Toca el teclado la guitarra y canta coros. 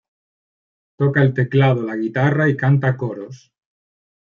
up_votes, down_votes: 2, 1